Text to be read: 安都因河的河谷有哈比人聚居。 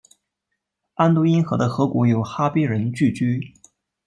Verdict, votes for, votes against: rejected, 0, 2